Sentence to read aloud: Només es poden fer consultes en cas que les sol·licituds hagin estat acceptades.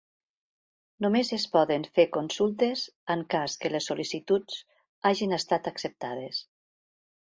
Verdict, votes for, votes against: accepted, 2, 0